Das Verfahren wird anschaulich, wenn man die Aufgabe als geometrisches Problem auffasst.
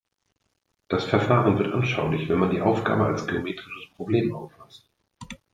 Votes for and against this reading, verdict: 0, 2, rejected